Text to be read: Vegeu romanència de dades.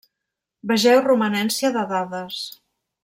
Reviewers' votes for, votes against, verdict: 3, 0, accepted